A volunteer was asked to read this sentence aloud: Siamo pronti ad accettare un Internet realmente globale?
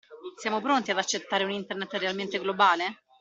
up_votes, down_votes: 2, 0